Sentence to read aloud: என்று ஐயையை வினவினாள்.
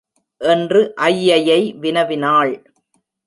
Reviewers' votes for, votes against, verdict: 1, 2, rejected